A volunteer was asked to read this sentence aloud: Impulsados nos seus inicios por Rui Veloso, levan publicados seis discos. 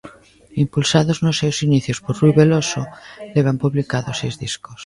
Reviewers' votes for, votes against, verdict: 2, 0, accepted